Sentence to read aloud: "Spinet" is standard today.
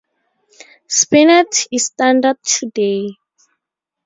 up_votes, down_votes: 4, 0